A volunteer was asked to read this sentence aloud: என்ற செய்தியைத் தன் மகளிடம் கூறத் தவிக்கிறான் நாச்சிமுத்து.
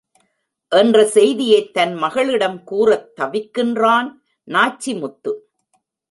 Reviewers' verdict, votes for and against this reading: rejected, 1, 2